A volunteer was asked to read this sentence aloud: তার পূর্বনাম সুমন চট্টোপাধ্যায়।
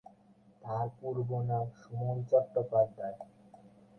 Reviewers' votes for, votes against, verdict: 4, 16, rejected